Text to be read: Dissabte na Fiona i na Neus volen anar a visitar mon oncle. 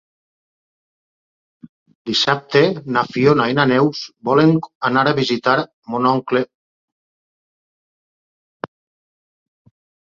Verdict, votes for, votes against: accepted, 2, 0